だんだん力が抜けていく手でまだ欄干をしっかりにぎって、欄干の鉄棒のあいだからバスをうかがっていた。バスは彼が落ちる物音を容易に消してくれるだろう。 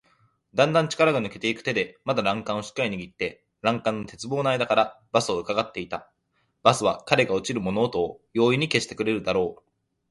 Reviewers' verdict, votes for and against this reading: accepted, 2, 0